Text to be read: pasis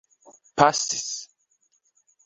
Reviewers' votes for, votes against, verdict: 1, 2, rejected